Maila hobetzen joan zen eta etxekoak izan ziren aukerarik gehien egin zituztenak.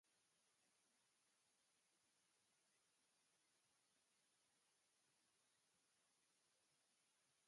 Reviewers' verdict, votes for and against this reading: rejected, 0, 2